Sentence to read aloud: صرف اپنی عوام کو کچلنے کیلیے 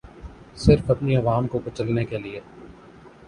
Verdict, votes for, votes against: accepted, 10, 0